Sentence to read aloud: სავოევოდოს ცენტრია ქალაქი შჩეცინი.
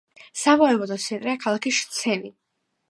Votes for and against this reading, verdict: 1, 2, rejected